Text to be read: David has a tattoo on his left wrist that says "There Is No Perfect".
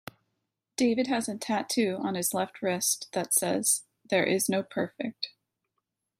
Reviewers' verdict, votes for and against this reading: accepted, 2, 0